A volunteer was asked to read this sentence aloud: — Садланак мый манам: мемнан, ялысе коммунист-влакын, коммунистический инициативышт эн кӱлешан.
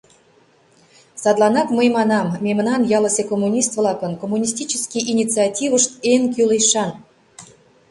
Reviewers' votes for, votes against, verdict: 2, 0, accepted